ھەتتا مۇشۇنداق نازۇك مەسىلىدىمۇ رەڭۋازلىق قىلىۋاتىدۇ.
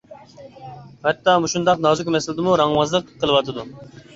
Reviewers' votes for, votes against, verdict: 2, 0, accepted